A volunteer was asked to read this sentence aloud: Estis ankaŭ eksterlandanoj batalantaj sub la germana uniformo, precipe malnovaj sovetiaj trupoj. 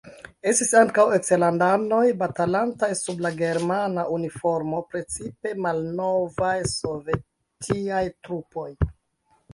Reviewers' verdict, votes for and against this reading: accepted, 3, 2